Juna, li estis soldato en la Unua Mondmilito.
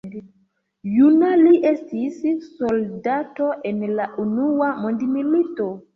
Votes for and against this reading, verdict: 2, 1, accepted